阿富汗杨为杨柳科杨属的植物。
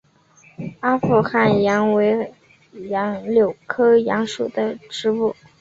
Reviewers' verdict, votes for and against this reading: accepted, 3, 0